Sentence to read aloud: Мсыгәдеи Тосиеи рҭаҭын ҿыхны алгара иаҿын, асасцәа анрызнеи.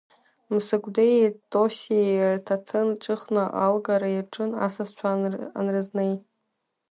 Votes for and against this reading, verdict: 5, 3, accepted